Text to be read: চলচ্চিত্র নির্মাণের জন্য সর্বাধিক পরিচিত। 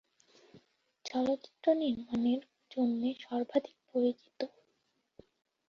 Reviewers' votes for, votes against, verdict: 4, 6, rejected